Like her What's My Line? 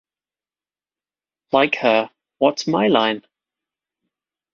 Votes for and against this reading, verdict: 2, 0, accepted